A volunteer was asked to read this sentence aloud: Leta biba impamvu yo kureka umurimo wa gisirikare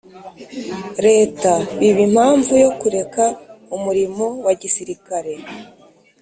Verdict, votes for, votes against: accepted, 2, 0